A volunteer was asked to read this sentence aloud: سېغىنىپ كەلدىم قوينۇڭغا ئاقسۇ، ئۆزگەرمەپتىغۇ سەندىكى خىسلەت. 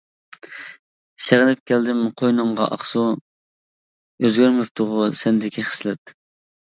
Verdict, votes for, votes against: accepted, 2, 1